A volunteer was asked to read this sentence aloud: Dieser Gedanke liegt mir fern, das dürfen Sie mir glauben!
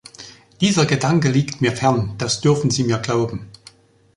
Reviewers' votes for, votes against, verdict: 2, 0, accepted